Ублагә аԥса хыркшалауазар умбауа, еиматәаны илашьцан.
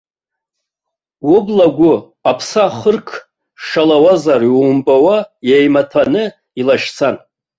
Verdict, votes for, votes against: rejected, 1, 2